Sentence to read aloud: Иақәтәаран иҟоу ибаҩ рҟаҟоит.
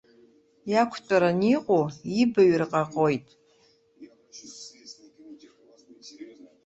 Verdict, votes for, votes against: rejected, 0, 2